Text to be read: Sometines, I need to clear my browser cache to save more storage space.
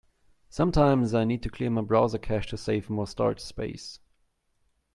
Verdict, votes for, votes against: accepted, 2, 0